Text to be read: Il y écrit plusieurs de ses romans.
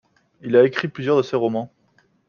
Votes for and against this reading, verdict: 0, 2, rejected